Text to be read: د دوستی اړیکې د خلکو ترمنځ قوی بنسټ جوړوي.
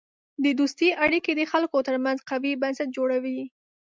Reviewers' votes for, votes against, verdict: 2, 0, accepted